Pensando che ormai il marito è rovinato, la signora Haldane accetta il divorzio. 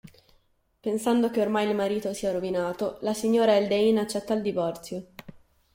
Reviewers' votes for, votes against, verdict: 1, 2, rejected